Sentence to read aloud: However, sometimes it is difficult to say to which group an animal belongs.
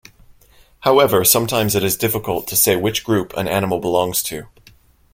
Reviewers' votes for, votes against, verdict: 0, 2, rejected